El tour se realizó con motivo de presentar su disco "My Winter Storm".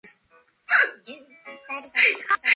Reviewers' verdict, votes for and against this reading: rejected, 0, 2